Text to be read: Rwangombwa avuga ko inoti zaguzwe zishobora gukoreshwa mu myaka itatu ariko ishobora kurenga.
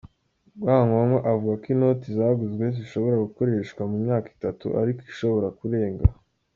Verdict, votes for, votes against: accepted, 2, 1